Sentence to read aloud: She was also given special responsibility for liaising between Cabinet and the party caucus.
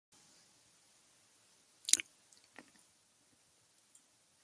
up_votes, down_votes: 0, 2